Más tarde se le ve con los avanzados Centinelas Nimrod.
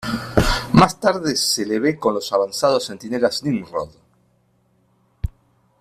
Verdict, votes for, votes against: accepted, 2, 1